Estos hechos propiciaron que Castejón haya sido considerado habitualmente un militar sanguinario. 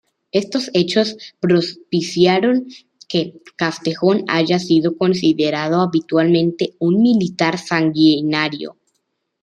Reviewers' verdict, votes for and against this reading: accepted, 2, 0